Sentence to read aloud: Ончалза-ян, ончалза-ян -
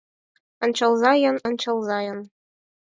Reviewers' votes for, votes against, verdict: 4, 0, accepted